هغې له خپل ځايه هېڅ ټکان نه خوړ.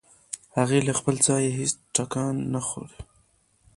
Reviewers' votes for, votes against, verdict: 2, 0, accepted